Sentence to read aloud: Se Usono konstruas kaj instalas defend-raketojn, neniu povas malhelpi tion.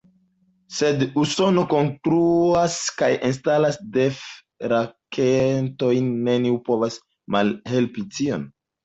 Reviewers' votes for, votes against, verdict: 0, 2, rejected